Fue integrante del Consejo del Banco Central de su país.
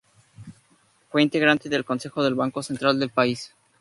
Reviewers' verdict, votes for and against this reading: rejected, 0, 2